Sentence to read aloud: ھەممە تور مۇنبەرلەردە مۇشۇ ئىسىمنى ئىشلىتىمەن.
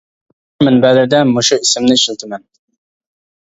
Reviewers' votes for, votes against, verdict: 0, 2, rejected